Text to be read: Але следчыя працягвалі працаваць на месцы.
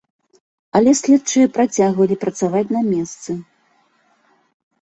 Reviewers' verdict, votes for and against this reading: accepted, 2, 0